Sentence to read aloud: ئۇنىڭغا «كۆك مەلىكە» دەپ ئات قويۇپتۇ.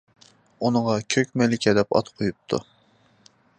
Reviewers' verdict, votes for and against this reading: accepted, 2, 0